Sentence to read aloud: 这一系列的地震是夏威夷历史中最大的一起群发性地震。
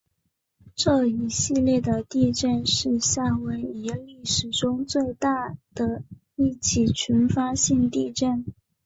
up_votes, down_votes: 3, 2